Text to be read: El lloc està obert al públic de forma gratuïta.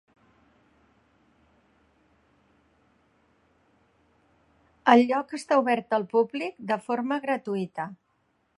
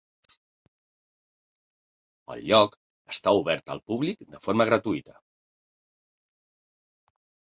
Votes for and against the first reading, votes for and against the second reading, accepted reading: 1, 2, 3, 0, second